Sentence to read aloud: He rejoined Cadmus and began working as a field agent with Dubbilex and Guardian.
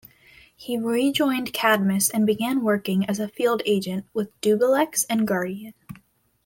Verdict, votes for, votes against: accepted, 2, 0